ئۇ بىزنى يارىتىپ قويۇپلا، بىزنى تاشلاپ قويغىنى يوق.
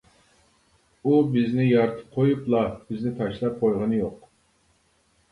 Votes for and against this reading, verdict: 2, 0, accepted